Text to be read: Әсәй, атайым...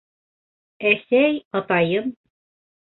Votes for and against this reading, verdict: 2, 0, accepted